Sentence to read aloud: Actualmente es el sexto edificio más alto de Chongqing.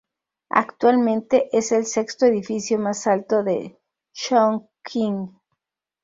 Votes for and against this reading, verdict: 2, 2, rejected